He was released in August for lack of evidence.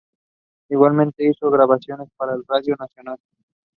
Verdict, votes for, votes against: rejected, 0, 2